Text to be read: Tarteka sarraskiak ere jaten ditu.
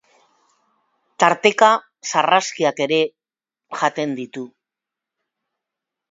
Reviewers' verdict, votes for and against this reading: accepted, 3, 0